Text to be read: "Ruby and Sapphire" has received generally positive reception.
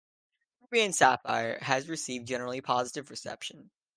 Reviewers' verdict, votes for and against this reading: rejected, 1, 2